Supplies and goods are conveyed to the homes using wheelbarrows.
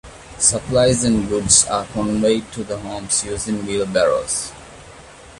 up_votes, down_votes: 2, 0